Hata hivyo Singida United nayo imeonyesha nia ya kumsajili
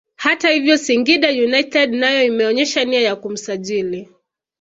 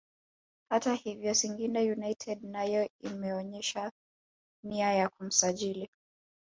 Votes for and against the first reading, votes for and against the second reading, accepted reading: 3, 1, 0, 2, first